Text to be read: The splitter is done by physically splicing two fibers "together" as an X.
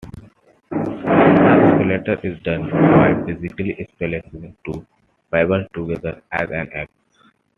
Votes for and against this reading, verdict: 2, 1, accepted